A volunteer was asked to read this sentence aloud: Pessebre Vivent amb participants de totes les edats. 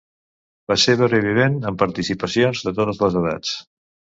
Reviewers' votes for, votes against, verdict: 1, 2, rejected